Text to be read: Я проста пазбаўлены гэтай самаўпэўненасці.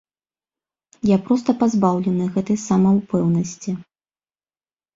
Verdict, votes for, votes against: accepted, 2, 1